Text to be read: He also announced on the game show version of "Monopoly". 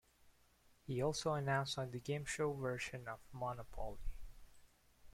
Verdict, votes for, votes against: rejected, 1, 2